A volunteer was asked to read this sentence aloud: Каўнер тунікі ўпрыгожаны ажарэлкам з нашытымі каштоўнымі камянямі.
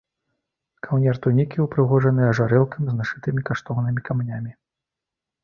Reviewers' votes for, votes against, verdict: 1, 2, rejected